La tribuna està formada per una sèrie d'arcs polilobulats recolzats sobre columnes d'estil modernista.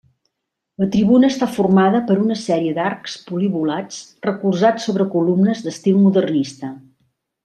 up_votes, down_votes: 1, 2